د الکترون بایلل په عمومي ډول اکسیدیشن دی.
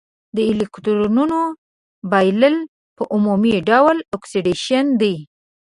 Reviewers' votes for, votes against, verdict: 1, 2, rejected